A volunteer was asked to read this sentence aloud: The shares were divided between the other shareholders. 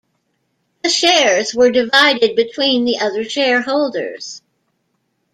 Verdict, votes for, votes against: accepted, 2, 0